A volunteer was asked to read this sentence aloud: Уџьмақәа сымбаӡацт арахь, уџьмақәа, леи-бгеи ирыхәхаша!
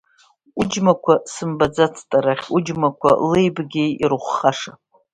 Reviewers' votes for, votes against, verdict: 2, 0, accepted